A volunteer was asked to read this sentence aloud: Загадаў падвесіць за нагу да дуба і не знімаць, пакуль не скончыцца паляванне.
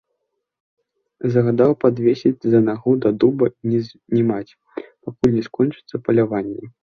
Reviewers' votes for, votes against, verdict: 0, 2, rejected